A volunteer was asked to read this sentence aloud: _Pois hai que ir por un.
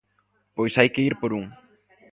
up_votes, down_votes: 2, 0